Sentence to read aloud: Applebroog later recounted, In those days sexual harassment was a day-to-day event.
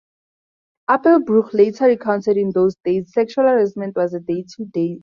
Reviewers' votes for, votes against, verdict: 0, 4, rejected